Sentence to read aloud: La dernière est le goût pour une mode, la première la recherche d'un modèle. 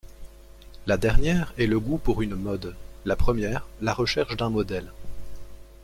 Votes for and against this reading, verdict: 2, 0, accepted